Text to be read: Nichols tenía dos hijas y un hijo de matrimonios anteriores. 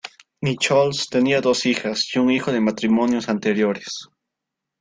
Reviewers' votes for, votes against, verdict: 1, 2, rejected